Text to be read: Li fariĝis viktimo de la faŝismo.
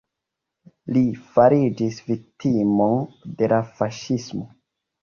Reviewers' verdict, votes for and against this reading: accepted, 2, 1